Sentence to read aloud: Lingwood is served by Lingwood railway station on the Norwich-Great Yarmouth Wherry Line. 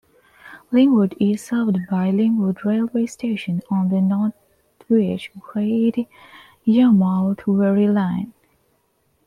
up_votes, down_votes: 1, 2